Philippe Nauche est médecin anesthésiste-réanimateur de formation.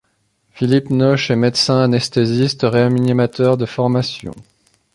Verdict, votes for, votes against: rejected, 1, 2